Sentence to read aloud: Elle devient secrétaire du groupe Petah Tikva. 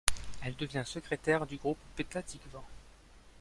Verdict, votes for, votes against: rejected, 1, 2